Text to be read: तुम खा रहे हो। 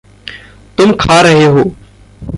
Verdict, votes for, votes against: rejected, 0, 2